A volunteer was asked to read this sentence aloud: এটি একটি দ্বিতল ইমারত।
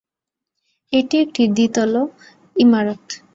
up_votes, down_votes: 2, 0